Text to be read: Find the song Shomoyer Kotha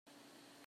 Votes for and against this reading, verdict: 0, 2, rejected